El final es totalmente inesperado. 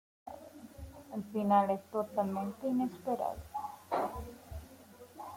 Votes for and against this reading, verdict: 2, 0, accepted